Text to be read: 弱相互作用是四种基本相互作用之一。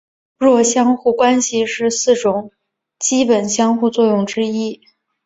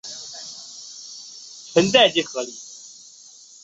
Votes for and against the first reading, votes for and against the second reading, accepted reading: 2, 1, 1, 2, first